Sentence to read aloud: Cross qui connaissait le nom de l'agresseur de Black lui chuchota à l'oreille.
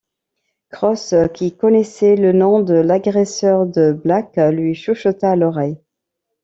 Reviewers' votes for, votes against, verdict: 2, 0, accepted